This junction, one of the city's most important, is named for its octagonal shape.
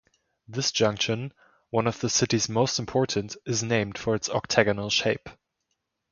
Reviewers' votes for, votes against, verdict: 3, 0, accepted